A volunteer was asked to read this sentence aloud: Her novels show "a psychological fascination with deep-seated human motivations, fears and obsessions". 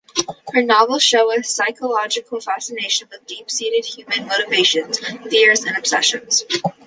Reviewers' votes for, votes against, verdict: 2, 0, accepted